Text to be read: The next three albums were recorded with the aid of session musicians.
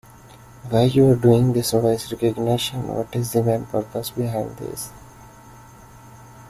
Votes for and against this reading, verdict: 0, 2, rejected